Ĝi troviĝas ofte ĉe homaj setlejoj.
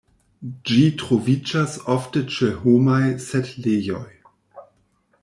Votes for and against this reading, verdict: 1, 2, rejected